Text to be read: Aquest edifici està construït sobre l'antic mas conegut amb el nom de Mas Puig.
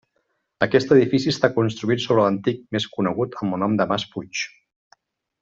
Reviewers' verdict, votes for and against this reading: rejected, 0, 2